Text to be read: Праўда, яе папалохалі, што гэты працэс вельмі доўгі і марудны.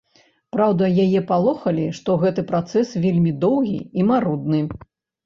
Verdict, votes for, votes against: rejected, 1, 2